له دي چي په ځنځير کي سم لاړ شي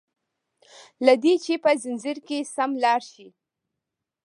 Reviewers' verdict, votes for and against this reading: rejected, 1, 2